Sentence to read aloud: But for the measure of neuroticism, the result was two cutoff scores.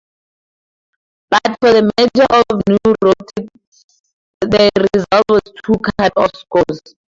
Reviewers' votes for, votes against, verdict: 0, 4, rejected